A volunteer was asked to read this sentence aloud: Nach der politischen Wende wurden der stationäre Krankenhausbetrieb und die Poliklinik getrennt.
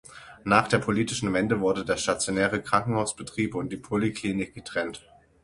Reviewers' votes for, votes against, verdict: 3, 6, rejected